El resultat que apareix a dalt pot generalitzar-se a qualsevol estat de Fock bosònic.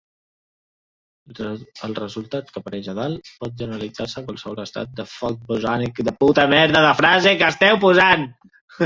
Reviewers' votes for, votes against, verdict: 0, 2, rejected